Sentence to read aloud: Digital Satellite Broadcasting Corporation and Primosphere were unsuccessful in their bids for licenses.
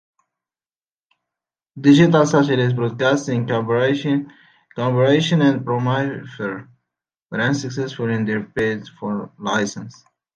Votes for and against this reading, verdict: 0, 2, rejected